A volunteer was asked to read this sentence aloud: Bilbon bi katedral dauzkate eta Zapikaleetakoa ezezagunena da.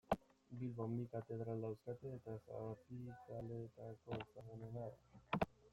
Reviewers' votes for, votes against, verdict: 0, 2, rejected